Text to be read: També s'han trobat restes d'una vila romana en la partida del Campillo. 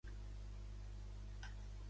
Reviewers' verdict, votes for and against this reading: rejected, 0, 2